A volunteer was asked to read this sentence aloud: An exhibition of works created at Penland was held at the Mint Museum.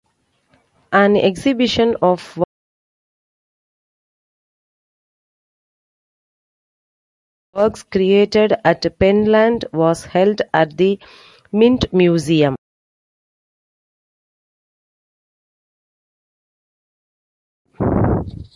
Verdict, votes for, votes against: rejected, 0, 2